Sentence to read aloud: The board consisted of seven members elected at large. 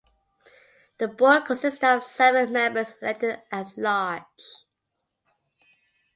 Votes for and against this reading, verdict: 3, 1, accepted